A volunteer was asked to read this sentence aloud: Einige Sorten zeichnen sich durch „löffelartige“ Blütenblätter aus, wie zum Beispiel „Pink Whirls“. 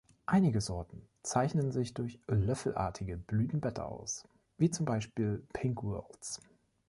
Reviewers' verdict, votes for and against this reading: accepted, 2, 0